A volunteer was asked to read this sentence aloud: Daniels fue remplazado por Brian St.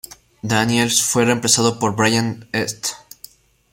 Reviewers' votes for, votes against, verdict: 2, 0, accepted